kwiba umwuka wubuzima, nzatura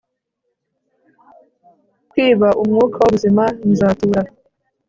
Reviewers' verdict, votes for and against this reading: accepted, 5, 0